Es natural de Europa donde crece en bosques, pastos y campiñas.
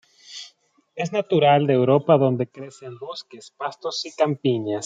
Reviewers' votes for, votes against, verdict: 2, 0, accepted